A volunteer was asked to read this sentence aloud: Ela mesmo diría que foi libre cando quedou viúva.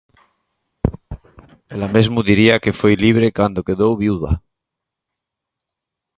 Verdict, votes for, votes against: accepted, 2, 0